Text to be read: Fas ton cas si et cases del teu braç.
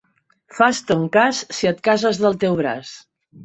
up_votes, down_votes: 3, 0